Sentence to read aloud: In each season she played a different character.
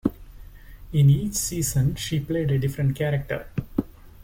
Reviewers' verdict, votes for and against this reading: accepted, 2, 0